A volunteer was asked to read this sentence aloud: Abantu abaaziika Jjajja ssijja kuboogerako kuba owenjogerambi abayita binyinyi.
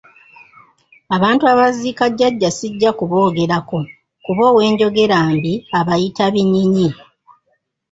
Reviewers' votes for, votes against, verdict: 1, 2, rejected